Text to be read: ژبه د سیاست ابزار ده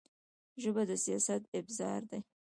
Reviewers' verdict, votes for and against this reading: rejected, 0, 2